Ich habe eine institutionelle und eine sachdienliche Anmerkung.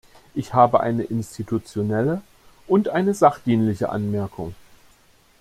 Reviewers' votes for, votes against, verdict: 2, 0, accepted